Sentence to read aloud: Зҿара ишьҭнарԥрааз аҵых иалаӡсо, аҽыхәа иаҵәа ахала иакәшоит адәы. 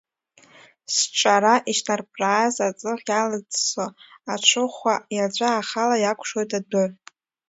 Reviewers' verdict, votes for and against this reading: rejected, 1, 2